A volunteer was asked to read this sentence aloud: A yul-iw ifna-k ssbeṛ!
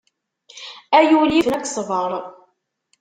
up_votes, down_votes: 0, 2